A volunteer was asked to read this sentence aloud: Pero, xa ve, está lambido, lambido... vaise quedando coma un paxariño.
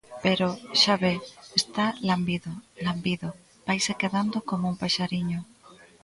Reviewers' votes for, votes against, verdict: 1, 2, rejected